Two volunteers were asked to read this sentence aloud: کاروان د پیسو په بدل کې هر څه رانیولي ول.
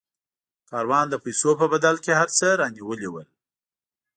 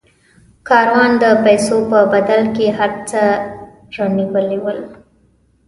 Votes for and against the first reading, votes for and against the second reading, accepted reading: 2, 0, 1, 2, first